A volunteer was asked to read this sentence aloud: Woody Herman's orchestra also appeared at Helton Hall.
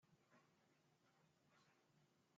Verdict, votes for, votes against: rejected, 0, 2